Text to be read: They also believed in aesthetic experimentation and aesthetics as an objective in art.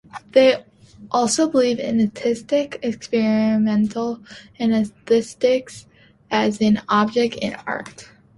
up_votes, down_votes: 0, 2